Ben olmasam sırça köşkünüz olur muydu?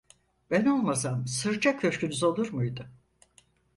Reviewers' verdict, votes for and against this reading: accepted, 4, 0